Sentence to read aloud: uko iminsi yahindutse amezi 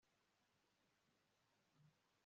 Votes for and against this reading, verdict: 0, 2, rejected